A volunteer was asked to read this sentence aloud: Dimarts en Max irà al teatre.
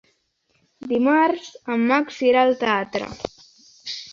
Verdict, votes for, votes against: accepted, 2, 0